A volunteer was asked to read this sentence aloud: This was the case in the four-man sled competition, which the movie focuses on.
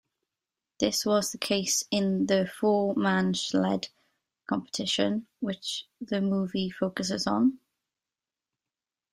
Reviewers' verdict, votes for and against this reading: rejected, 0, 2